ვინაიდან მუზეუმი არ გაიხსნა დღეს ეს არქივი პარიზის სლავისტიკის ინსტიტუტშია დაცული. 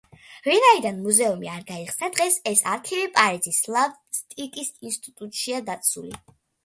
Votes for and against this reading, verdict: 2, 0, accepted